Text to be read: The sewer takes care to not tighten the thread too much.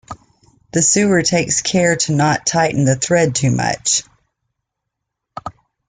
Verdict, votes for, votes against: rejected, 1, 2